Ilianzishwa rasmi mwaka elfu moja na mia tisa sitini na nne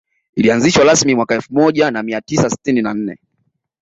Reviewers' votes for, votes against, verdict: 0, 2, rejected